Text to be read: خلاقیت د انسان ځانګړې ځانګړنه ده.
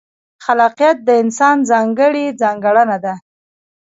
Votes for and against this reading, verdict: 2, 1, accepted